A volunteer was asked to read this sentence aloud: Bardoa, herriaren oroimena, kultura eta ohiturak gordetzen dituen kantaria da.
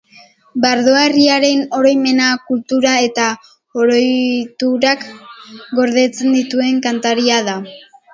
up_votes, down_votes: 0, 2